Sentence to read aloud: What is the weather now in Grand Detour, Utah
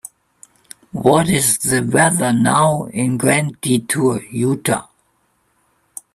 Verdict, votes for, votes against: accepted, 2, 1